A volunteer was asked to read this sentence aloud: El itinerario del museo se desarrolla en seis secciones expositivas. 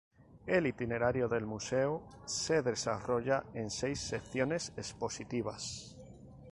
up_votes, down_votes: 2, 0